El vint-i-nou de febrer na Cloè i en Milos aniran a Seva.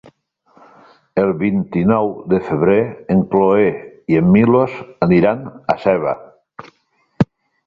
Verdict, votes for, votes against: rejected, 0, 2